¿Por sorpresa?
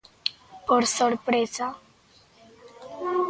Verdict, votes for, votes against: rejected, 1, 2